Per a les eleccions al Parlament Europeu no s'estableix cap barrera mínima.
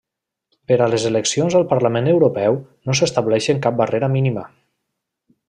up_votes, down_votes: 0, 2